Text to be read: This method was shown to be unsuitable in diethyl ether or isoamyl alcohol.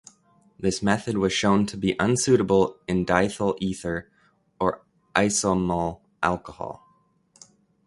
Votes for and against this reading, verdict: 2, 0, accepted